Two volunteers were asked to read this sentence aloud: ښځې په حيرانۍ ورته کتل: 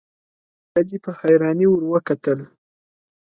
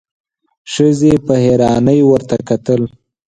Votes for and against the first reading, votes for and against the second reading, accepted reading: 0, 2, 4, 0, second